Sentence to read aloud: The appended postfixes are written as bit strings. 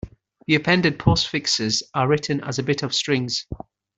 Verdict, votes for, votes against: rejected, 0, 2